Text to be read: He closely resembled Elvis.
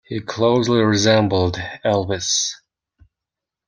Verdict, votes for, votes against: accepted, 2, 1